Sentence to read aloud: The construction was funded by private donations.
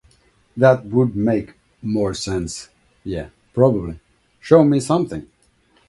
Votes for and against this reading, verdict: 1, 2, rejected